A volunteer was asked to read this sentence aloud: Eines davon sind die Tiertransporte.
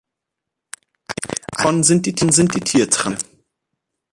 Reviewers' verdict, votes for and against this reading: rejected, 0, 2